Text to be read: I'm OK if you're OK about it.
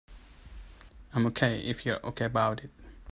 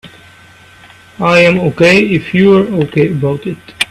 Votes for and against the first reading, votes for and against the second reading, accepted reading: 2, 1, 0, 2, first